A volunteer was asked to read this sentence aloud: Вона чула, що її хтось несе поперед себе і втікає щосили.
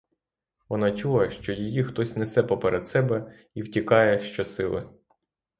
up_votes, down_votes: 3, 0